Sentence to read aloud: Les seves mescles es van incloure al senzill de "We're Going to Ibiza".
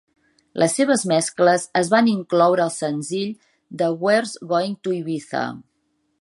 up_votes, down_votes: 1, 2